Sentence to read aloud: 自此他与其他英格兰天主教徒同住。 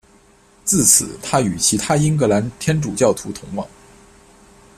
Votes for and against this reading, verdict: 1, 2, rejected